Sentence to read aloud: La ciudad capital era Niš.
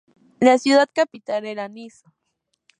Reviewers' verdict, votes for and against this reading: accepted, 2, 0